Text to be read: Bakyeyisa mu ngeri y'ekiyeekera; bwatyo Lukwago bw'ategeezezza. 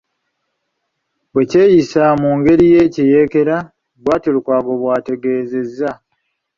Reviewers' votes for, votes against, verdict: 0, 2, rejected